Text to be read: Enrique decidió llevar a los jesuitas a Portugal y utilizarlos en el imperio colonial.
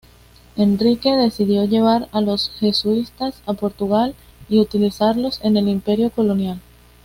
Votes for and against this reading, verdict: 2, 1, accepted